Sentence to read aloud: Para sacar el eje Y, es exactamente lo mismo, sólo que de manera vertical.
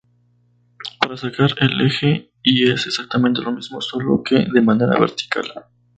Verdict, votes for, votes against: rejected, 0, 2